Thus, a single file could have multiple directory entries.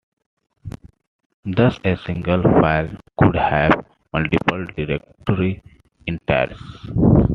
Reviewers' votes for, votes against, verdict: 2, 3, rejected